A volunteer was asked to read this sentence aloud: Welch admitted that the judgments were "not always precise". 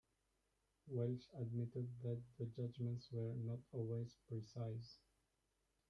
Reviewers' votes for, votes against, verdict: 1, 2, rejected